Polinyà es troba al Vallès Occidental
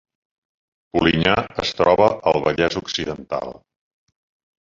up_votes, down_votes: 0, 2